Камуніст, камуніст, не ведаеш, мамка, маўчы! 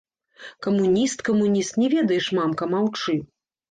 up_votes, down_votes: 1, 3